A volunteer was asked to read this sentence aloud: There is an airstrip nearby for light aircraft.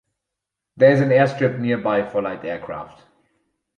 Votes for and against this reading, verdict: 2, 4, rejected